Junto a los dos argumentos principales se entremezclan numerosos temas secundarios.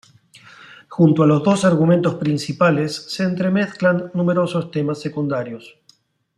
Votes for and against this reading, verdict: 2, 0, accepted